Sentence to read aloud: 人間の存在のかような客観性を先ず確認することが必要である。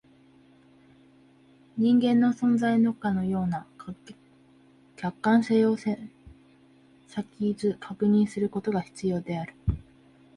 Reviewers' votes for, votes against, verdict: 2, 4, rejected